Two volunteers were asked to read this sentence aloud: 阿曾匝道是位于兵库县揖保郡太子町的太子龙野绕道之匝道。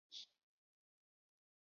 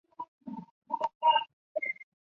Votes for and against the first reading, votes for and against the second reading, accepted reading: 4, 3, 0, 3, first